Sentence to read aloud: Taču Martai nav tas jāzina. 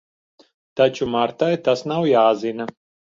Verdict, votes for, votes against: rejected, 0, 2